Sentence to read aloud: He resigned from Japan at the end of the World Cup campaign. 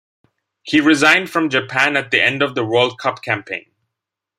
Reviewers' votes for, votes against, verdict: 2, 0, accepted